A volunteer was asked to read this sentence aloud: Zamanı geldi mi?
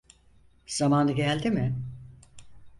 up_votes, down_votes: 4, 0